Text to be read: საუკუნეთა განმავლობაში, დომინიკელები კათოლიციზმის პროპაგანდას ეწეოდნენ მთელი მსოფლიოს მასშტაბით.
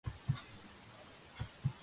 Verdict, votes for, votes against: rejected, 0, 2